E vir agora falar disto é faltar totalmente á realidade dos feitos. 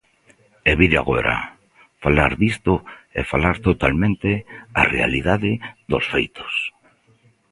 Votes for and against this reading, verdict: 0, 2, rejected